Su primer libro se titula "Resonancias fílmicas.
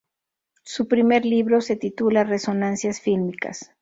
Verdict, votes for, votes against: accepted, 2, 0